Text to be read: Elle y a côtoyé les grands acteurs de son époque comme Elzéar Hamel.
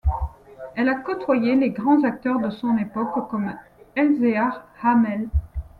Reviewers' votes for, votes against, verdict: 1, 2, rejected